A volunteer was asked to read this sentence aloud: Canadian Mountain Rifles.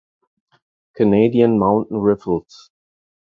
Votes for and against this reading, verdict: 0, 4, rejected